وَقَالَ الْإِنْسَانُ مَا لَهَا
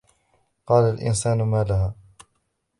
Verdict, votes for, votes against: accepted, 3, 1